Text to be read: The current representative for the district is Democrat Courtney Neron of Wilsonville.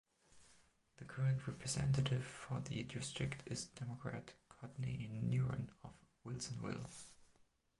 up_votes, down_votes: 0, 2